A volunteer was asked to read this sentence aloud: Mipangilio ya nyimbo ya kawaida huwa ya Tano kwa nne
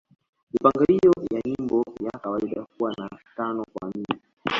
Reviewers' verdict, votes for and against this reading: accepted, 2, 0